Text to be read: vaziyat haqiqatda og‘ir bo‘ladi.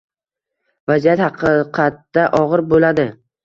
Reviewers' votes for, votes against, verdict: 2, 1, accepted